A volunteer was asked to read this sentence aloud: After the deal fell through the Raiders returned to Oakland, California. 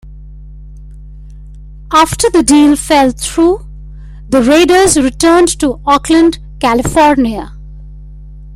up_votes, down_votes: 1, 2